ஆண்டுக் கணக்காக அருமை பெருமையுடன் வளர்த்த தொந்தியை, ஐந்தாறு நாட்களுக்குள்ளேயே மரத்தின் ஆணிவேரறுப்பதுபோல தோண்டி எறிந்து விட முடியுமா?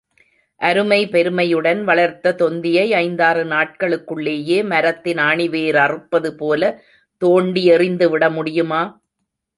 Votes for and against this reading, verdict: 0, 2, rejected